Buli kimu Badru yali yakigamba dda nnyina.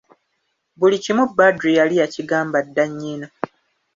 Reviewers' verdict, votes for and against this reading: accepted, 2, 0